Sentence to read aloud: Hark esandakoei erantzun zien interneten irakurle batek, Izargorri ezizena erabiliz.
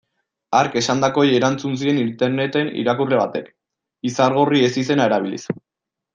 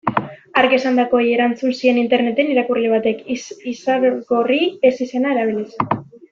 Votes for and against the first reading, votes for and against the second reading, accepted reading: 2, 0, 0, 2, first